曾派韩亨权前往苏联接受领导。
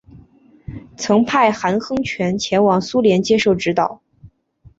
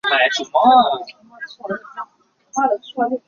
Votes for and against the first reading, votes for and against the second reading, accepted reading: 6, 0, 0, 2, first